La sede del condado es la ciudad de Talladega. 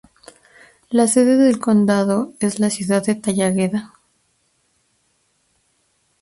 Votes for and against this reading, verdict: 0, 2, rejected